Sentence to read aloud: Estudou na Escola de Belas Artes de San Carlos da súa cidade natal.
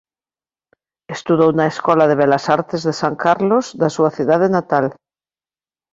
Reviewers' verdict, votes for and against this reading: accepted, 2, 0